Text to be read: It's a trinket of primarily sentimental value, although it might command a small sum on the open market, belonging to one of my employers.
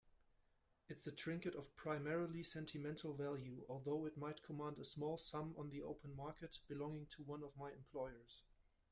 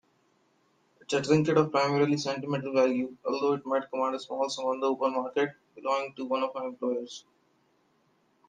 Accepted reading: first